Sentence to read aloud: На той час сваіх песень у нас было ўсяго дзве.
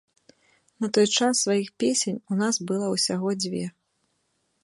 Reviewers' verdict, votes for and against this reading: rejected, 1, 2